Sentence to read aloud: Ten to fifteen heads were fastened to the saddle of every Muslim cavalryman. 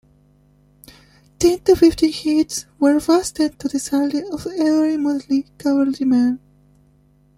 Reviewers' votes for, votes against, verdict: 0, 2, rejected